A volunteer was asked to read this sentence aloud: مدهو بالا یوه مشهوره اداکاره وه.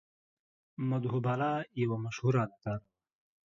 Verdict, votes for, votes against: rejected, 0, 2